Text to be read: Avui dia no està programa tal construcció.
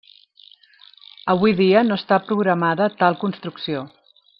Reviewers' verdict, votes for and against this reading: rejected, 0, 2